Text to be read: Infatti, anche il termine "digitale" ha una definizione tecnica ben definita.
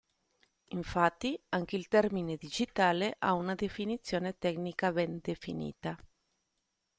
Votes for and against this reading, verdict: 2, 0, accepted